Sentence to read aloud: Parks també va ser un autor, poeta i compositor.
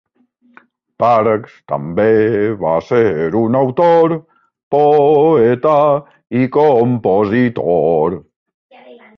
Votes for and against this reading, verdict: 1, 2, rejected